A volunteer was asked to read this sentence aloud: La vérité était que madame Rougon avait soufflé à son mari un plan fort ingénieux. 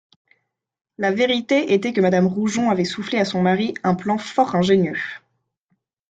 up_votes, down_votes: 1, 2